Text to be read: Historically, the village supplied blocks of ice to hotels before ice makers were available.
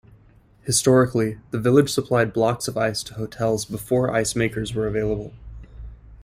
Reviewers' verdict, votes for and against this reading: accepted, 2, 0